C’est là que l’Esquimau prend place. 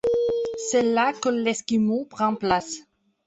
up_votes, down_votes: 1, 2